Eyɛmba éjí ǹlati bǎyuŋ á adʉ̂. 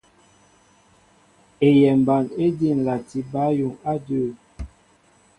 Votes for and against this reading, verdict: 2, 0, accepted